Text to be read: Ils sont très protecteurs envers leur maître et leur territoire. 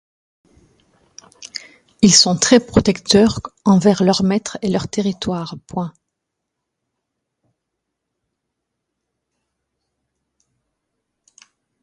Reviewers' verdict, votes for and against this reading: rejected, 1, 2